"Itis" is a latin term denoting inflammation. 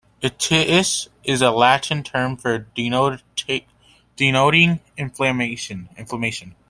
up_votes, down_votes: 0, 2